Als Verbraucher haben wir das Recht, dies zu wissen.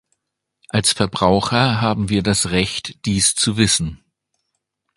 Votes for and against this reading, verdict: 2, 0, accepted